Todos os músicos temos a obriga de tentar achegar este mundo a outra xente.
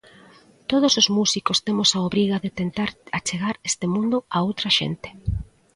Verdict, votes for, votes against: accepted, 2, 0